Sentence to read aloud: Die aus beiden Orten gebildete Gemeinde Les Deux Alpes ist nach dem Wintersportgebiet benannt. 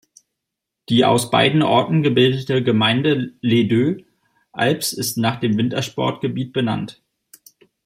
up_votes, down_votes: 0, 2